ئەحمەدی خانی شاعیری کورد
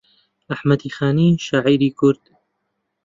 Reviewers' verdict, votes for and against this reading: accepted, 2, 0